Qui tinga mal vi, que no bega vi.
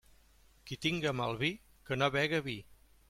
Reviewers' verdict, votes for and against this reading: accepted, 2, 0